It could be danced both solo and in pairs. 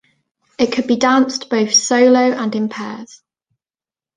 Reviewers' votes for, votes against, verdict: 2, 0, accepted